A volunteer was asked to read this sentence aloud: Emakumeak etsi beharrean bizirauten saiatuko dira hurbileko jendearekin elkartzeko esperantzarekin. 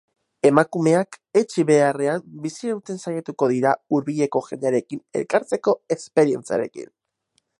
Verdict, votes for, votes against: rejected, 0, 4